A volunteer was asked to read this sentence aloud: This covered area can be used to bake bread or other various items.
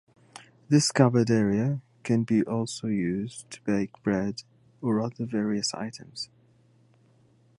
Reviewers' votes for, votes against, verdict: 0, 2, rejected